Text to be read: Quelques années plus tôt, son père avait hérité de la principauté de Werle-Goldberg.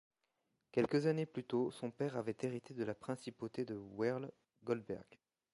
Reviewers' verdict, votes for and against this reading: rejected, 1, 2